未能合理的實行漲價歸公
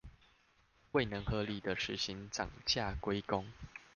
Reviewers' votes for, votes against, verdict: 2, 0, accepted